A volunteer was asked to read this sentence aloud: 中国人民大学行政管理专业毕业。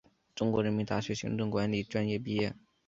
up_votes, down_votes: 2, 0